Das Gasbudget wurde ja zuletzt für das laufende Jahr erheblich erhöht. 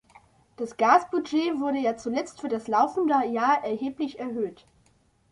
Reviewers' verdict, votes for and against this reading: accepted, 2, 0